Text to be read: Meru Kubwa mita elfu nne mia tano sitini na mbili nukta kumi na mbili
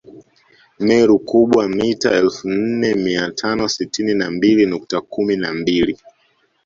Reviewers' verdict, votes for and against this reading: accepted, 2, 0